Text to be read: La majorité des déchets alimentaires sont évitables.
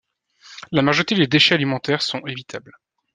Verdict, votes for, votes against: accepted, 2, 0